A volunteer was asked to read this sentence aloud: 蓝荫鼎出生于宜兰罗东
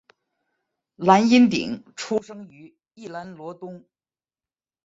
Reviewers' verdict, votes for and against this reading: accepted, 2, 0